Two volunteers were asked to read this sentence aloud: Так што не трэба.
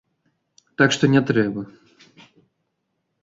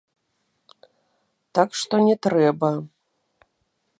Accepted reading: first